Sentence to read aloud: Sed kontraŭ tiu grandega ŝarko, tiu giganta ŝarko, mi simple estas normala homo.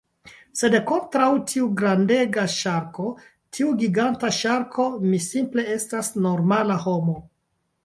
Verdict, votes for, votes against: rejected, 1, 2